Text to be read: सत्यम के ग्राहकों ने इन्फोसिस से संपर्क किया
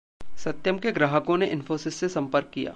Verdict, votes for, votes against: rejected, 0, 2